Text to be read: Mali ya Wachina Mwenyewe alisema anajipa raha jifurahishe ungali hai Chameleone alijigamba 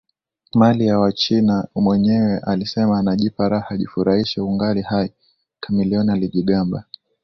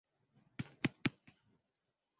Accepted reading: first